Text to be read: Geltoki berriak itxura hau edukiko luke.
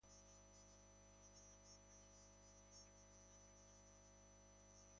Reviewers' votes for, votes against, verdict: 0, 2, rejected